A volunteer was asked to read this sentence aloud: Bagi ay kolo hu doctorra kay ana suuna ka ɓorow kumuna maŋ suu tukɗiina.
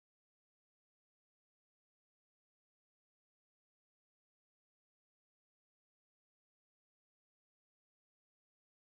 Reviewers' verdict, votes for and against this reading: rejected, 0, 2